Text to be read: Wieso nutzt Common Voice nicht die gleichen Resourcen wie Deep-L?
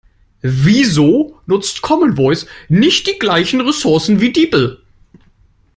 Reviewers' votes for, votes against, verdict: 0, 2, rejected